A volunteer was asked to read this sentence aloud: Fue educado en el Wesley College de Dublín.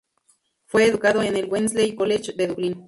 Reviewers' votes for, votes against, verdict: 2, 0, accepted